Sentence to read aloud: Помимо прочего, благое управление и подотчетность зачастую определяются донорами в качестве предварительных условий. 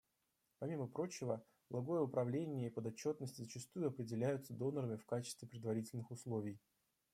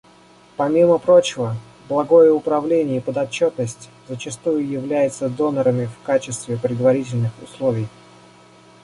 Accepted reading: first